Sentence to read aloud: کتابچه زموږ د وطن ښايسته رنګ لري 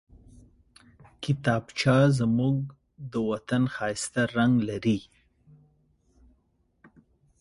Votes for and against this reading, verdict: 2, 0, accepted